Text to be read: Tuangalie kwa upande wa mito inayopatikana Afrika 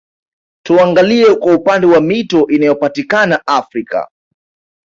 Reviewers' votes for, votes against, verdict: 2, 1, accepted